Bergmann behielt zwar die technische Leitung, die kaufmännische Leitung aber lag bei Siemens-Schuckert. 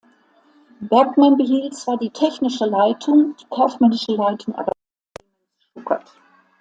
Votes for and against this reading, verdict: 0, 2, rejected